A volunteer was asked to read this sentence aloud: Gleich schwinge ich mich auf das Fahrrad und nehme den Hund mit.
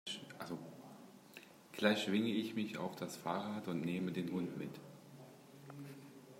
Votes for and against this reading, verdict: 0, 2, rejected